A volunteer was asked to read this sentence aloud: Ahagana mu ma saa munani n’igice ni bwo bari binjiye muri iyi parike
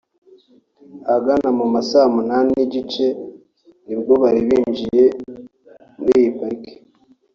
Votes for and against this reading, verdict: 2, 0, accepted